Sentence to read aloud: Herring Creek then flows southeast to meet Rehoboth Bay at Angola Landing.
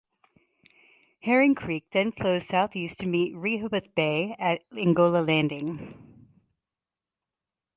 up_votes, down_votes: 2, 2